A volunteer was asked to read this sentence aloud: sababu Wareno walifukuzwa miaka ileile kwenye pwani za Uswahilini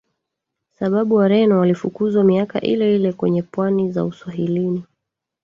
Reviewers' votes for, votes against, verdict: 0, 2, rejected